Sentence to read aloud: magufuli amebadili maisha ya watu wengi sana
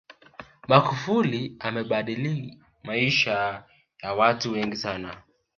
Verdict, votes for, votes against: accepted, 2, 0